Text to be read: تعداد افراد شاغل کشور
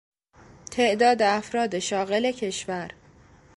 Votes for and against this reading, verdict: 2, 0, accepted